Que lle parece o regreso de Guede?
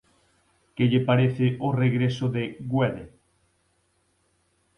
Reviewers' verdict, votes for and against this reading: rejected, 0, 2